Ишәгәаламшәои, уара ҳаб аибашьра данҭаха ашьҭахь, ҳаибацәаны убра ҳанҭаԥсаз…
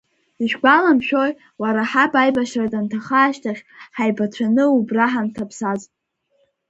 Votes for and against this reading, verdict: 1, 2, rejected